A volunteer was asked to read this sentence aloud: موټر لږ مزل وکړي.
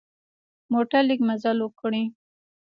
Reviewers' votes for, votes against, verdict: 2, 0, accepted